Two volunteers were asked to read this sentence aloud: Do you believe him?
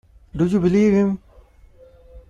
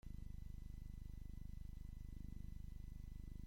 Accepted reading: first